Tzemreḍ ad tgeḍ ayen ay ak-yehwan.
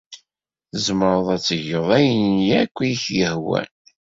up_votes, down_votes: 1, 2